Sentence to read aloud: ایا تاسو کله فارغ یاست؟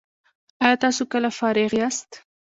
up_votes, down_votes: 2, 0